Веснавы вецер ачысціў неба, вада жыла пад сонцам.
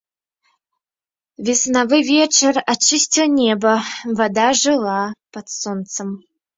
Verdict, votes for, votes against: accepted, 2, 1